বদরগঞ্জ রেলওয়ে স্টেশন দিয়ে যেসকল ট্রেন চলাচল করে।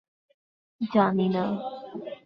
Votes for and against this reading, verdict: 2, 14, rejected